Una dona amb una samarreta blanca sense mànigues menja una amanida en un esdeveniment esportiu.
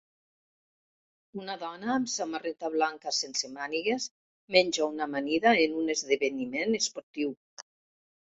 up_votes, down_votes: 0, 2